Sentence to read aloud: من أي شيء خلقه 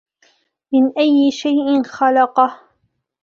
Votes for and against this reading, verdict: 2, 1, accepted